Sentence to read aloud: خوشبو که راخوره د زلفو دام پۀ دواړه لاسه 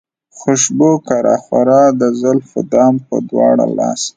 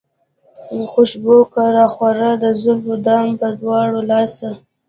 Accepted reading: first